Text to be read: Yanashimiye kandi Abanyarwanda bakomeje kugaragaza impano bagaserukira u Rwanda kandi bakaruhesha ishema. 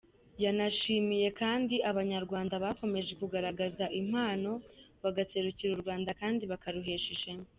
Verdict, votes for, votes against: accepted, 2, 0